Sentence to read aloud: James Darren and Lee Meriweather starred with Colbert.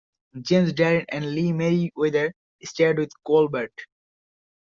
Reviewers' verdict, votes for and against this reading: accepted, 2, 1